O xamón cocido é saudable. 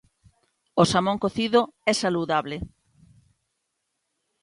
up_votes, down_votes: 0, 2